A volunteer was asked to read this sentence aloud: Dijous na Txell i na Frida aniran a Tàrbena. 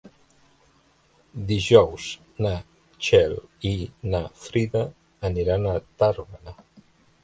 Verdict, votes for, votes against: rejected, 0, 2